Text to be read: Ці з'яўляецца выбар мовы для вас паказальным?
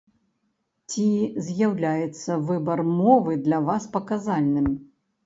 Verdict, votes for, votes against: accepted, 2, 0